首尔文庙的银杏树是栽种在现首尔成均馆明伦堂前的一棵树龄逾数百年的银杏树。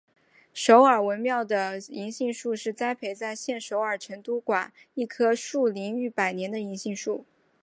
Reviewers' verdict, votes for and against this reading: rejected, 3, 4